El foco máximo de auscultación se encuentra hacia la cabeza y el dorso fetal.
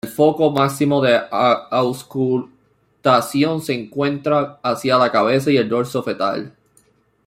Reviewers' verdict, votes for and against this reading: rejected, 1, 2